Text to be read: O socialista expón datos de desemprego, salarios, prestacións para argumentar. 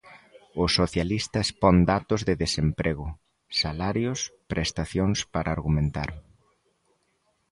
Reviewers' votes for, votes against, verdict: 2, 0, accepted